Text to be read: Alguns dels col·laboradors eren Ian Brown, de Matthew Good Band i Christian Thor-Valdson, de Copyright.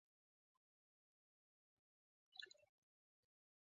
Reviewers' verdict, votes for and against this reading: rejected, 0, 2